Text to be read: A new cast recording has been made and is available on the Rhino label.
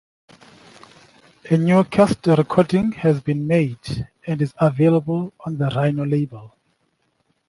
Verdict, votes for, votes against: rejected, 1, 2